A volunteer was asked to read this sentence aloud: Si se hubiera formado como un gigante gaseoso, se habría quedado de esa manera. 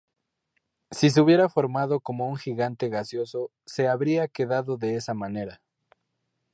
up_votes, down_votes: 2, 0